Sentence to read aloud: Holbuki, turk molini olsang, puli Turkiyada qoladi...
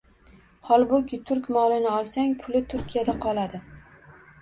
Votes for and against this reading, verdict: 2, 0, accepted